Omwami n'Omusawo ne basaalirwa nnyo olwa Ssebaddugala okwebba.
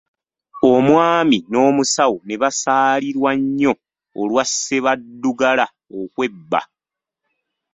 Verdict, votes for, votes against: rejected, 1, 2